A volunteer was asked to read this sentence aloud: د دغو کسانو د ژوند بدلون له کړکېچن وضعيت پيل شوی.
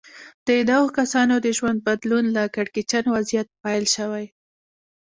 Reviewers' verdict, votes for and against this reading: accepted, 2, 1